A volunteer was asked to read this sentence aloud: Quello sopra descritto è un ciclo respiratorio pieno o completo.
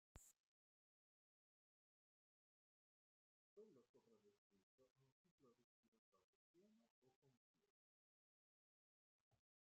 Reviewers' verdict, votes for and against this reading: rejected, 0, 2